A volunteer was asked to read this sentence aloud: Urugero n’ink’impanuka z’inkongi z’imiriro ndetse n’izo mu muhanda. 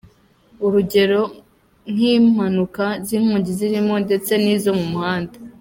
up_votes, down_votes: 2, 0